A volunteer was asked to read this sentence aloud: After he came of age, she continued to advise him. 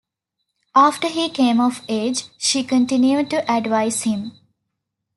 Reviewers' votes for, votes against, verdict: 2, 0, accepted